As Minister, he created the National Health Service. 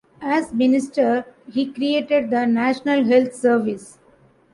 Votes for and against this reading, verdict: 2, 0, accepted